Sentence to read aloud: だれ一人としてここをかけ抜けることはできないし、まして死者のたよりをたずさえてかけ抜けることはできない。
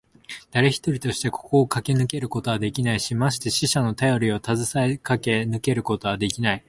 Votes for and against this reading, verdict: 3, 1, accepted